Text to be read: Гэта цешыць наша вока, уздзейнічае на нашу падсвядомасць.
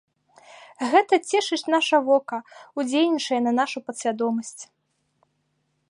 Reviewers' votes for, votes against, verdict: 1, 2, rejected